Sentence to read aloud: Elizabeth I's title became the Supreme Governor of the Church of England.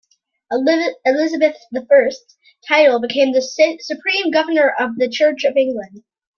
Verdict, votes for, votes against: rejected, 1, 2